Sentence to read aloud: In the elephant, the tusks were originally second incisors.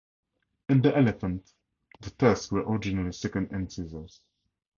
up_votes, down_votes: 2, 2